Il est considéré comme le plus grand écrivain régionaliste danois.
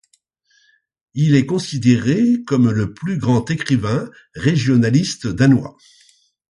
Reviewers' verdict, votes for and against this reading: accepted, 2, 0